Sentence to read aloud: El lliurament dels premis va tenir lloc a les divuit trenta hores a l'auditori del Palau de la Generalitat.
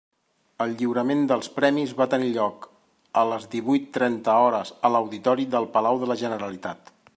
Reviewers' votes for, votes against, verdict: 3, 0, accepted